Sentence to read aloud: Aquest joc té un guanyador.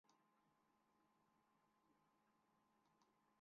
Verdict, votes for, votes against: rejected, 0, 2